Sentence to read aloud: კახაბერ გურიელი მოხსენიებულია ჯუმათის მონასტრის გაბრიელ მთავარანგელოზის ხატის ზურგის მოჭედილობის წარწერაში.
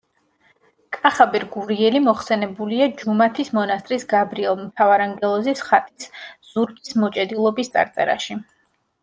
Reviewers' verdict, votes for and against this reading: rejected, 1, 2